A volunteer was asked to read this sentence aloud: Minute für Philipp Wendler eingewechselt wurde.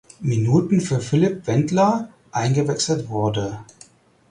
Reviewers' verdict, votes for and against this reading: rejected, 2, 4